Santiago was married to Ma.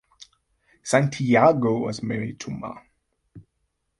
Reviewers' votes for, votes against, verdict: 2, 0, accepted